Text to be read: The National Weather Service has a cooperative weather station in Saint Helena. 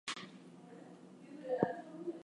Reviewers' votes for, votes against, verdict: 0, 2, rejected